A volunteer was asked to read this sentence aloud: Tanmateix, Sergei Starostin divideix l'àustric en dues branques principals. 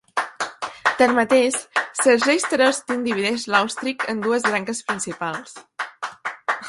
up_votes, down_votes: 2, 1